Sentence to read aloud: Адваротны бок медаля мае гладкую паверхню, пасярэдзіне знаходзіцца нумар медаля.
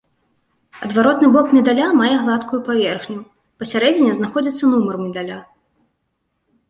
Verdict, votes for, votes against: accepted, 2, 0